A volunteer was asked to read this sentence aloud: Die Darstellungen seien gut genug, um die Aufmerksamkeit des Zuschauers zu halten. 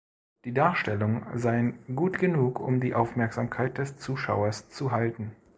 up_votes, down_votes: 1, 2